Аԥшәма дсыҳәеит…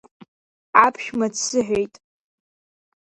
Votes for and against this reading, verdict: 2, 0, accepted